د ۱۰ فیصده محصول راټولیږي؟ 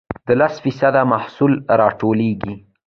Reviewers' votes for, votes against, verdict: 0, 2, rejected